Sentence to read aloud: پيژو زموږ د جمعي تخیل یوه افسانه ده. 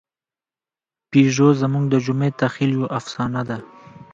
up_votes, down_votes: 2, 1